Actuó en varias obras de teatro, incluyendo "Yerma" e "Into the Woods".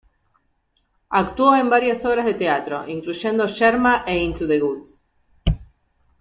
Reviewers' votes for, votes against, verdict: 2, 1, accepted